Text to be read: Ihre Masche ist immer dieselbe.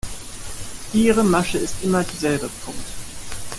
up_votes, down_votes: 1, 2